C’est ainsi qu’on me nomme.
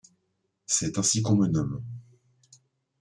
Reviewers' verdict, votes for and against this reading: accepted, 2, 0